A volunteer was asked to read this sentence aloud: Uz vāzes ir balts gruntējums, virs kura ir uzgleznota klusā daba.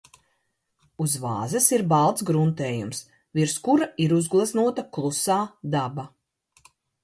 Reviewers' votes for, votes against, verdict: 3, 0, accepted